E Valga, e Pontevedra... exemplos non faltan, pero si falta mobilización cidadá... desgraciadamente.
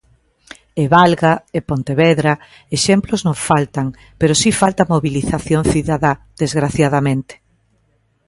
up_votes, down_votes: 2, 0